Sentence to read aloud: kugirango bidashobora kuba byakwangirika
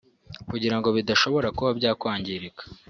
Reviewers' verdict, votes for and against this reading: accepted, 4, 0